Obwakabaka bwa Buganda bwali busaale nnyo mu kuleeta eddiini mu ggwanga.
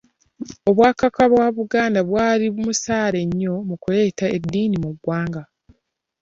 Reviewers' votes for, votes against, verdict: 1, 2, rejected